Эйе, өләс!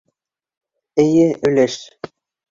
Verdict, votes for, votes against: accepted, 2, 0